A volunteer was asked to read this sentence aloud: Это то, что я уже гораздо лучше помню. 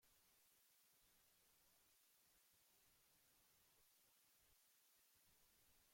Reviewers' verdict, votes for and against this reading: rejected, 0, 2